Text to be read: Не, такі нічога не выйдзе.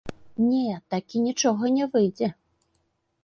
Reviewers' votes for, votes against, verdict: 2, 0, accepted